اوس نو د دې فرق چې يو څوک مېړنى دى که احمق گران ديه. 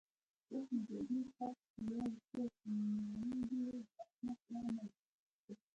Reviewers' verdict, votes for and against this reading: rejected, 1, 2